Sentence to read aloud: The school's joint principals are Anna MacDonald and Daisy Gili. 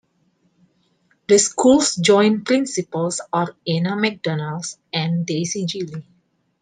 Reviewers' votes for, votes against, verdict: 2, 1, accepted